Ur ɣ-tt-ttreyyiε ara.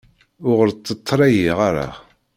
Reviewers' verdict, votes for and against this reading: rejected, 0, 2